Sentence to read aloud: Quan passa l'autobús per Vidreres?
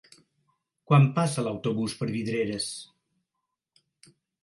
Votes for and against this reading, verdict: 4, 0, accepted